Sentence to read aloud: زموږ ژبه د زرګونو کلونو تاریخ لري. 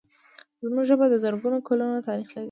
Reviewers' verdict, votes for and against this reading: accepted, 2, 0